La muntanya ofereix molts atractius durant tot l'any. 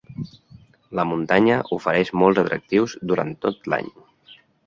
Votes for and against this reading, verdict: 3, 0, accepted